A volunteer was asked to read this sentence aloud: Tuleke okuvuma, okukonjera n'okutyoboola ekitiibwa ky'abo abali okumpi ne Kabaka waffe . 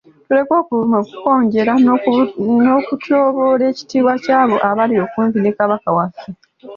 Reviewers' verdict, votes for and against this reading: accepted, 2, 0